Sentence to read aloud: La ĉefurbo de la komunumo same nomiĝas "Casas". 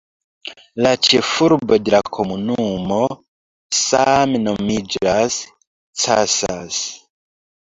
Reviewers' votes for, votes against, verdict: 2, 0, accepted